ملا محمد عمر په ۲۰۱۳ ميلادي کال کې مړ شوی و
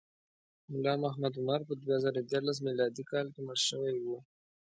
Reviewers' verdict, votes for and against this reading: rejected, 0, 2